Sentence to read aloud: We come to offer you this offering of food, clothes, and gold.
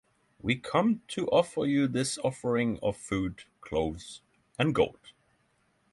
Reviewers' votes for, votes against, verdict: 3, 0, accepted